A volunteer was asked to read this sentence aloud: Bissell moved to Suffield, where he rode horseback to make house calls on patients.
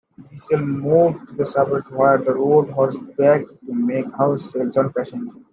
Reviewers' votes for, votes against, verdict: 0, 2, rejected